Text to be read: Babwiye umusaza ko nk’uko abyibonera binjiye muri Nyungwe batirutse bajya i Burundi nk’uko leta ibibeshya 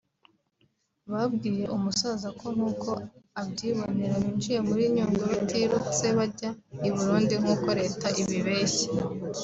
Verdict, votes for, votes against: accepted, 3, 0